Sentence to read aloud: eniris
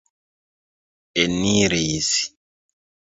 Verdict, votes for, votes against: accepted, 2, 0